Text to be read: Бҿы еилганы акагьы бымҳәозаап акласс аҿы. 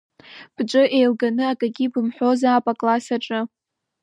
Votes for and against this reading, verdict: 2, 0, accepted